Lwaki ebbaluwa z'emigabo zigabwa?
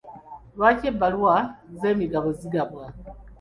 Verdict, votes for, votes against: accepted, 2, 0